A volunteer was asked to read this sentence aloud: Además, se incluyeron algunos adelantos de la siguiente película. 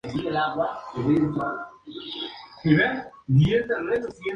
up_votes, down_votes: 0, 2